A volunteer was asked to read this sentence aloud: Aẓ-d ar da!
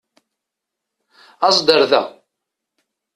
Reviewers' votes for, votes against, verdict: 2, 0, accepted